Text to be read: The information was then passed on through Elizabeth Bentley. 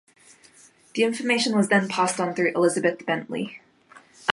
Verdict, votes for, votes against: accepted, 2, 0